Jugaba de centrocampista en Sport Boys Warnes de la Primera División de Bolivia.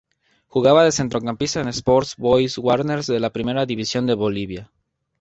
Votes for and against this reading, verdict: 2, 0, accepted